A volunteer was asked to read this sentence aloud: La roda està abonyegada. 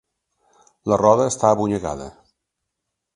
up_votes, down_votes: 2, 0